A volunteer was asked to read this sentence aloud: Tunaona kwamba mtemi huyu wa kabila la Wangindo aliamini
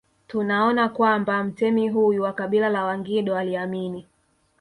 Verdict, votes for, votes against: rejected, 1, 2